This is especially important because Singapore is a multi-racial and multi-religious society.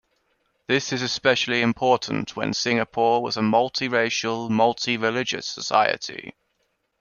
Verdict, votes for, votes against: rejected, 0, 2